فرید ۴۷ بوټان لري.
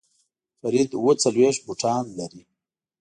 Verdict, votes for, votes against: rejected, 0, 2